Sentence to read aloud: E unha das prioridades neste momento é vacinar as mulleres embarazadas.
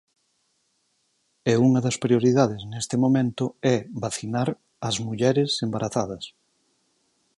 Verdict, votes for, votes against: accepted, 4, 2